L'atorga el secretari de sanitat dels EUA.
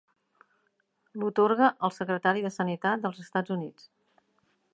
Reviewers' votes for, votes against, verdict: 1, 2, rejected